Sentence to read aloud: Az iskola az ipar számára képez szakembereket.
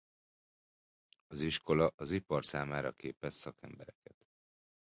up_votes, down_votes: 0, 2